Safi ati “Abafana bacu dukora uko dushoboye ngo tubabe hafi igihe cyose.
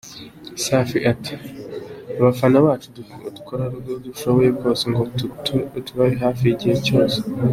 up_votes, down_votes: 1, 2